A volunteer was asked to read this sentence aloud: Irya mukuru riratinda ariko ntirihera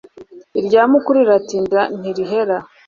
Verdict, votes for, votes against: rejected, 0, 2